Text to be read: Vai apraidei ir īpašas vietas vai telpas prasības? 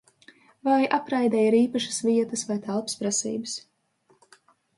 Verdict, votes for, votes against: rejected, 1, 2